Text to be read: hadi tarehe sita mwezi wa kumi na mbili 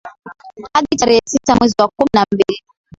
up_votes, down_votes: 1, 2